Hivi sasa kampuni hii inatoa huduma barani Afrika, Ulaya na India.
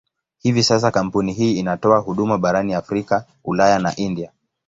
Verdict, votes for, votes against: accepted, 2, 1